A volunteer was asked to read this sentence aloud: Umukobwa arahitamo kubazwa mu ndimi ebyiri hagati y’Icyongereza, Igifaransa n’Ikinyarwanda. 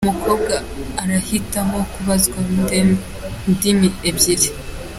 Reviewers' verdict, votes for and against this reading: rejected, 0, 3